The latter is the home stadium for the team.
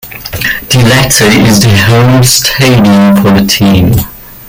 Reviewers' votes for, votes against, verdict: 2, 0, accepted